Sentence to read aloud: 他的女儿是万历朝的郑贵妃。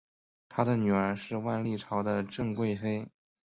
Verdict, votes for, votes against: accepted, 2, 0